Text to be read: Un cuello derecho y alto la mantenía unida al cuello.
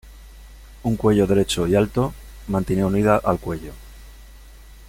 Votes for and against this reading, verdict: 0, 2, rejected